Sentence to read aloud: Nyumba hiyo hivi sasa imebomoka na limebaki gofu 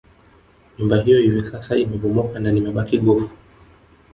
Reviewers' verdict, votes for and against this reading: accepted, 2, 0